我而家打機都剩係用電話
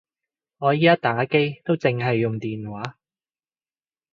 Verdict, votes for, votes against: rejected, 0, 3